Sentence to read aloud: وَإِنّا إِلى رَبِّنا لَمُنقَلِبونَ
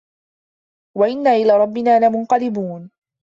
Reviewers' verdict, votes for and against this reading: accepted, 2, 0